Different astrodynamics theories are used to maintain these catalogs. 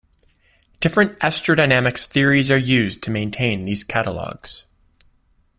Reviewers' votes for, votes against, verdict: 2, 0, accepted